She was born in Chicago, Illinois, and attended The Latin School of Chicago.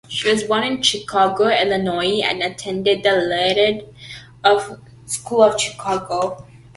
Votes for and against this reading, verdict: 0, 2, rejected